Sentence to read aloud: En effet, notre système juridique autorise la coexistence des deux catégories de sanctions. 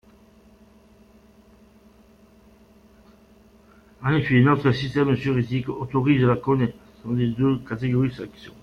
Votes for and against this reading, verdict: 0, 2, rejected